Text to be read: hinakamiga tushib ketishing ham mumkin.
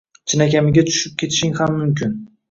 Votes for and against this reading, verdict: 1, 2, rejected